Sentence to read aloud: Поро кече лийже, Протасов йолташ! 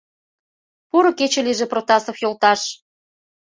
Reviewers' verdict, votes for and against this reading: accepted, 2, 0